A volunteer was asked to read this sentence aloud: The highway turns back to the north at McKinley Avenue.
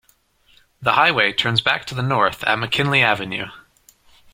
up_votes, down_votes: 2, 0